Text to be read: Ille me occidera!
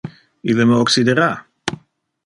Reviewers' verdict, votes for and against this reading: accepted, 2, 0